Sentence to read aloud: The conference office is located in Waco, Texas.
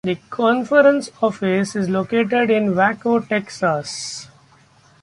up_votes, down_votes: 2, 1